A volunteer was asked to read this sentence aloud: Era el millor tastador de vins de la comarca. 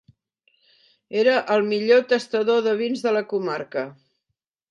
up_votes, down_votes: 3, 0